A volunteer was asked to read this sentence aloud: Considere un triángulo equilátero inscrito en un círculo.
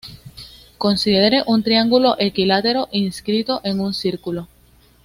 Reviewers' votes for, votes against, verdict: 2, 0, accepted